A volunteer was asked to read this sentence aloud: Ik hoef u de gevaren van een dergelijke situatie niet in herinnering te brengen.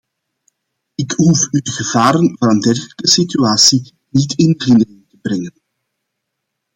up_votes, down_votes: 0, 2